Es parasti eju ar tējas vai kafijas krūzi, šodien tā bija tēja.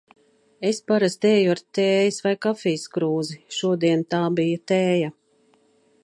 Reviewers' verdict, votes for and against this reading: accepted, 2, 0